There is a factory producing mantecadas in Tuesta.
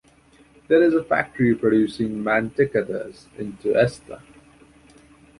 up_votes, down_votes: 2, 1